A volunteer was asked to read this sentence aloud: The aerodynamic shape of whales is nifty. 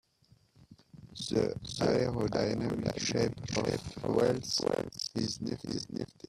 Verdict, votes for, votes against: rejected, 0, 2